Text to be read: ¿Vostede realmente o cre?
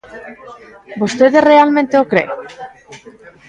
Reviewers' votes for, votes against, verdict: 2, 0, accepted